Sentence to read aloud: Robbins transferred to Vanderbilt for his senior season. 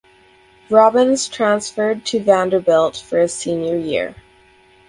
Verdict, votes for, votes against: rejected, 0, 4